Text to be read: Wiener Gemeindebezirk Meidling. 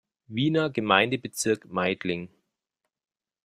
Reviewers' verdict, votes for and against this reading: accepted, 2, 0